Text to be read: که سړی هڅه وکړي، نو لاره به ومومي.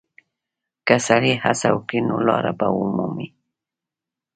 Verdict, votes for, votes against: rejected, 1, 2